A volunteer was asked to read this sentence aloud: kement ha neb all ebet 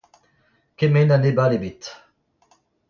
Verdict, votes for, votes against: rejected, 0, 2